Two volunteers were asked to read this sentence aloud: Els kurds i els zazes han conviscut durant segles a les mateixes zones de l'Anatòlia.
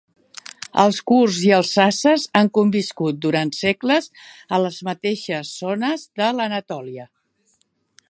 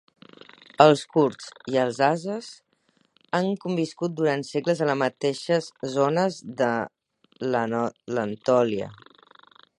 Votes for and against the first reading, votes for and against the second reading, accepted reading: 2, 0, 0, 4, first